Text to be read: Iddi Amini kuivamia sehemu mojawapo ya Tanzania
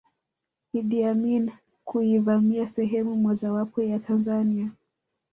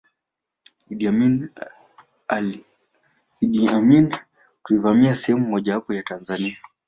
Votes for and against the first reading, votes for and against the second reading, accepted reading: 2, 0, 0, 2, first